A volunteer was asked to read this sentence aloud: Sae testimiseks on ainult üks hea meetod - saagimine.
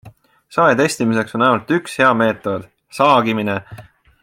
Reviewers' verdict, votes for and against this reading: accepted, 2, 1